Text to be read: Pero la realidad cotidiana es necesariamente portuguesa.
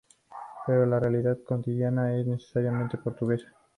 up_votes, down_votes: 2, 0